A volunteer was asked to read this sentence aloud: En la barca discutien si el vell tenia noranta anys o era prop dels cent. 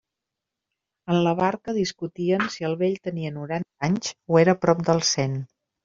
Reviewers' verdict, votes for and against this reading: rejected, 1, 2